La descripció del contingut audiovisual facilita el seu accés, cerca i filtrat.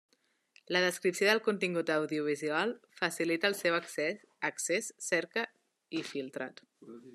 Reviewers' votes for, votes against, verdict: 0, 2, rejected